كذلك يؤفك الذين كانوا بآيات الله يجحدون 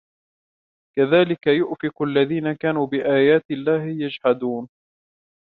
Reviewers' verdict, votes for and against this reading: rejected, 1, 2